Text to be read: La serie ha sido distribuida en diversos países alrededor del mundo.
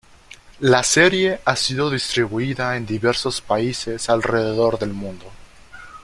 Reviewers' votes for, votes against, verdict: 2, 0, accepted